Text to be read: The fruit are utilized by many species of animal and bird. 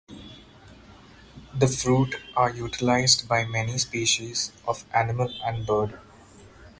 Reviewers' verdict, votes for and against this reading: accepted, 4, 2